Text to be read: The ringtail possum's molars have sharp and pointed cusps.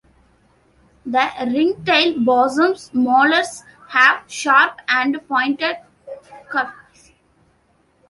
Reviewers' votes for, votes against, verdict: 2, 0, accepted